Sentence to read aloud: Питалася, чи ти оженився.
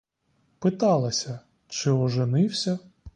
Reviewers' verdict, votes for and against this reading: rejected, 0, 2